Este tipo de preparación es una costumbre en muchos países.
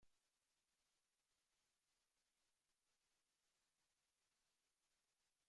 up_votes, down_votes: 0, 2